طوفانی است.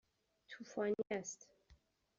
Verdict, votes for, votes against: accepted, 2, 0